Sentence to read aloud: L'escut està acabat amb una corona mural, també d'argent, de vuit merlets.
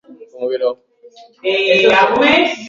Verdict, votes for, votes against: rejected, 0, 2